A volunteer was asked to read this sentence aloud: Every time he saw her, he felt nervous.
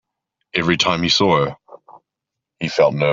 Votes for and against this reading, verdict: 1, 2, rejected